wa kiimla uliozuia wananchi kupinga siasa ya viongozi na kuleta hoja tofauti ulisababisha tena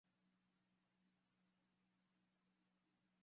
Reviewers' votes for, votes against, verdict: 0, 3, rejected